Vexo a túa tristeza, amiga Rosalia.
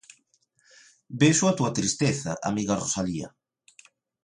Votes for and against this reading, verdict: 2, 0, accepted